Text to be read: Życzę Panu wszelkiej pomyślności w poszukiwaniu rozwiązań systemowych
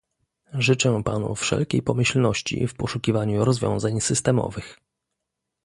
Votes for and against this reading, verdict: 2, 0, accepted